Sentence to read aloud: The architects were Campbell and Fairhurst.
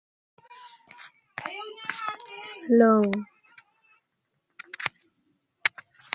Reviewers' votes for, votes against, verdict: 0, 2, rejected